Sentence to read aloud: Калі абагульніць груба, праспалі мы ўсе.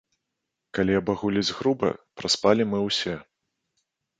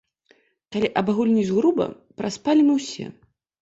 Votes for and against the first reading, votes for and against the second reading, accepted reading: 1, 2, 2, 0, second